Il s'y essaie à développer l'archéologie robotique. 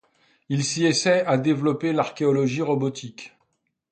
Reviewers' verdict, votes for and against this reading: accepted, 2, 0